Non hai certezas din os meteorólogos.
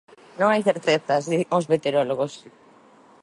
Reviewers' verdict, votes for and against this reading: rejected, 1, 3